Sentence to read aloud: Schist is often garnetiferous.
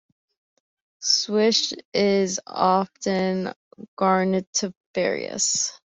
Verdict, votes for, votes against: rejected, 0, 2